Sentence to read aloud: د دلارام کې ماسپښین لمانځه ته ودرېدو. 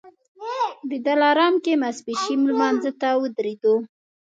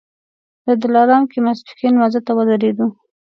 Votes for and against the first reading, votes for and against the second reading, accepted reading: 1, 2, 3, 0, second